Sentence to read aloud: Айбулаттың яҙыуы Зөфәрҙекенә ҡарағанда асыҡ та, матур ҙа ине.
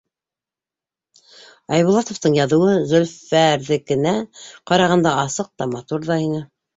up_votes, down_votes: 2, 3